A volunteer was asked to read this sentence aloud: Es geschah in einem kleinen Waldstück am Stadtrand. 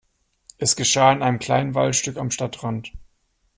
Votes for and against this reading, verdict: 2, 0, accepted